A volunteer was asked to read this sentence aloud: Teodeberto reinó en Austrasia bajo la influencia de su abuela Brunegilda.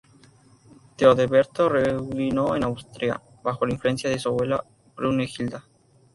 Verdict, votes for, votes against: rejected, 0, 2